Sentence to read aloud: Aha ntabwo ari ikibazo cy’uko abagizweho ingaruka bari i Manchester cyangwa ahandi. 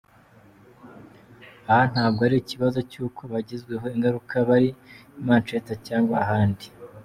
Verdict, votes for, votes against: accepted, 2, 0